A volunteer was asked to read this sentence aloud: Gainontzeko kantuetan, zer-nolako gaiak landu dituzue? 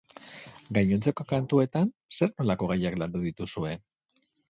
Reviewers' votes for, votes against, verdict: 6, 0, accepted